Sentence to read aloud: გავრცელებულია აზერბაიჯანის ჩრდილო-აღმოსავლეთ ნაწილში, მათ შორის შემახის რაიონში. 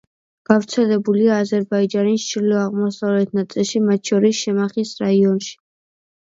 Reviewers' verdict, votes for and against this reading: accepted, 2, 0